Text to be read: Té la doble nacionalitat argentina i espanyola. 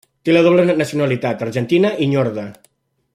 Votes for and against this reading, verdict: 1, 2, rejected